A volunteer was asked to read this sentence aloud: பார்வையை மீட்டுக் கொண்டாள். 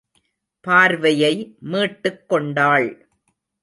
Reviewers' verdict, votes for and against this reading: accepted, 2, 0